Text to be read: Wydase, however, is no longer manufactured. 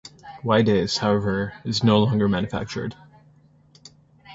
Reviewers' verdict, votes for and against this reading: accepted, 2, 0